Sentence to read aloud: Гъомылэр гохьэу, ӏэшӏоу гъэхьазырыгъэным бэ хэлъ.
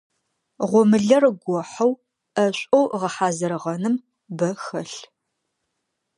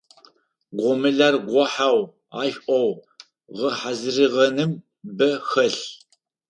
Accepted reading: first